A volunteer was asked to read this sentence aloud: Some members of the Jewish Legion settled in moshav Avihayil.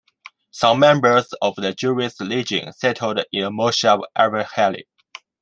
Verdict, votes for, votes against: rejected, 1, 2